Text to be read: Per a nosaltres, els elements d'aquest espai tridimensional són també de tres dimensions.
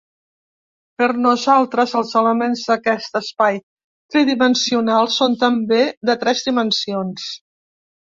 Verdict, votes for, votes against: rejected, 1, 2